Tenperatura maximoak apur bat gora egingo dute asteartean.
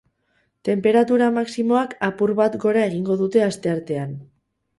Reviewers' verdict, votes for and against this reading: rejected, 2, 2